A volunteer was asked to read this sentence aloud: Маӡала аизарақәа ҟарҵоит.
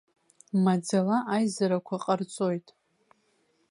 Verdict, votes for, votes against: rejected, 1, 2